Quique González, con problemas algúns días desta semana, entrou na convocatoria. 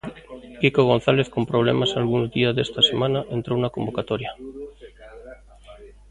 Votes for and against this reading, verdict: 1, 2, rejected